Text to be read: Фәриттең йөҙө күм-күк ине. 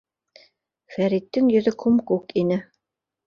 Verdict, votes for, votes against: accepted, 2, 0